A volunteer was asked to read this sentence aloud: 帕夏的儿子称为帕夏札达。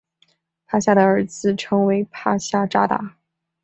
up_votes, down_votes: 2, 0